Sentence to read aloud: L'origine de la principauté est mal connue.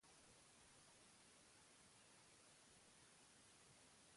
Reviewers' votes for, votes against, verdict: 0, 2, rejected